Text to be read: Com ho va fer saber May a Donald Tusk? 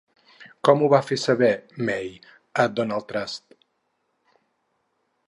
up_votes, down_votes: 2, 2